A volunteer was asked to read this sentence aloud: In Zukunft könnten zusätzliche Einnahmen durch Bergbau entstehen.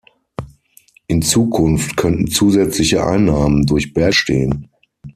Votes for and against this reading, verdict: 0, 9, rejected